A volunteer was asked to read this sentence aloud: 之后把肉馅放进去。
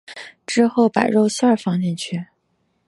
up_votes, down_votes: 3, 1